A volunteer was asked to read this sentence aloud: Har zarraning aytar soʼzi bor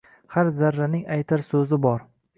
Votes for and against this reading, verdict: 4, 0, accepted